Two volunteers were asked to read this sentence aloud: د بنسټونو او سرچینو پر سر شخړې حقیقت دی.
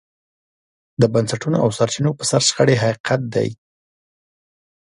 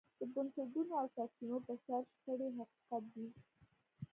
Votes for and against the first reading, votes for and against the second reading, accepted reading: 2, 0, 0, 2, first